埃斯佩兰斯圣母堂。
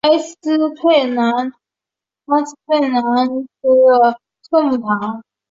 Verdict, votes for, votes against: rejected, 0, 2